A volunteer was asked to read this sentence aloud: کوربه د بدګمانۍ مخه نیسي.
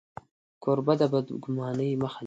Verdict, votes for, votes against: accepted, 2, 0